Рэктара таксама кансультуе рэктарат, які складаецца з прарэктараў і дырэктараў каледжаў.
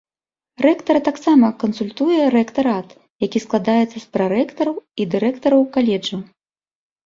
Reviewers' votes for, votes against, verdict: 2, 0, accepted